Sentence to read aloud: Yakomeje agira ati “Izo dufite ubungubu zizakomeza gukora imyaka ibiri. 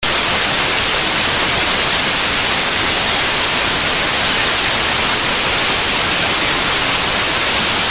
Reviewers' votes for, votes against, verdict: 0, 2, rejected